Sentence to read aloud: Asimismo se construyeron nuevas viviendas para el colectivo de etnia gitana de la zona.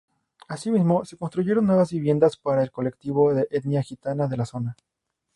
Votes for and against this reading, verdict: 2, 0, accepted